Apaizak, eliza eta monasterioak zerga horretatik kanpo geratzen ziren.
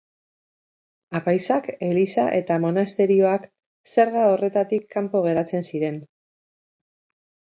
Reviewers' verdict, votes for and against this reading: accepted, 2, 0